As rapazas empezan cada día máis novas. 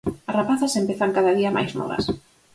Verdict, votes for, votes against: accepted, 4, 0